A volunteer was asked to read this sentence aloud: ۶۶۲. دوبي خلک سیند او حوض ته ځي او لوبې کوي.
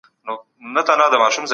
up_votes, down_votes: 0, 2